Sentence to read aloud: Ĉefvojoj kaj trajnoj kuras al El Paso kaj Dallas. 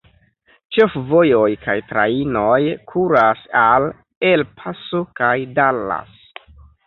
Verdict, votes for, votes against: accepted, 3, 2